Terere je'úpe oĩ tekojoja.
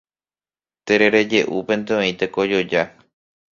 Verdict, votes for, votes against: rejected, 0, 2